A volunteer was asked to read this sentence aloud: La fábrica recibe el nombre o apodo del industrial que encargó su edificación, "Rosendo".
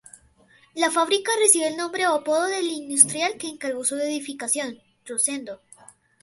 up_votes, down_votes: 2, 2